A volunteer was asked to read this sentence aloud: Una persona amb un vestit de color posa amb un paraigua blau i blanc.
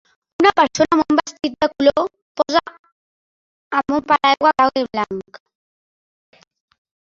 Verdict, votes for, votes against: rejected, 1, 2